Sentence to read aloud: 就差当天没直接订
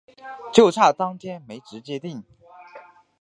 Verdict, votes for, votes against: accepted, 2, 0